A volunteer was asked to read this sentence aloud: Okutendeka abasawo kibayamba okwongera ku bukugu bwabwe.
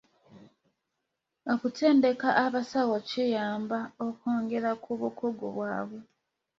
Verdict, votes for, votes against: rejected, 1, 2